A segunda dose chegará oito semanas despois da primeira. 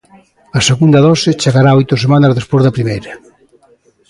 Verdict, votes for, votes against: accepted, 2, 0